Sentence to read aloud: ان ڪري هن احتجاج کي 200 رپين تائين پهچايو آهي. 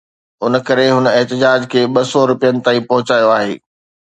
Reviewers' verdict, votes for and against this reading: rejected, 0, 2